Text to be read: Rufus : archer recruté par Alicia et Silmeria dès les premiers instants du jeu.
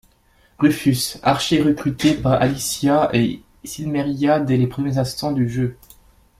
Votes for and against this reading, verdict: 2, 0, accepted